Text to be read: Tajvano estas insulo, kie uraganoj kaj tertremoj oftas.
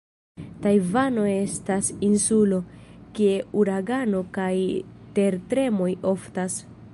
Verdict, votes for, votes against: rejected, 1, 2